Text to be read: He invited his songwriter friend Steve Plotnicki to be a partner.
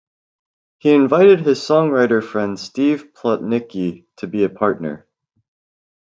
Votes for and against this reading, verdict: 2, 0, accepted